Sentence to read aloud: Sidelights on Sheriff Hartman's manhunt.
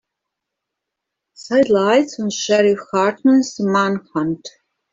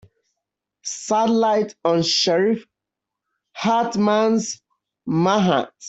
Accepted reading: second